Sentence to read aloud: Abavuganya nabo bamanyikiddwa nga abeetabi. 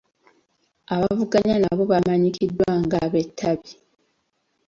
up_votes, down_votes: 2, 0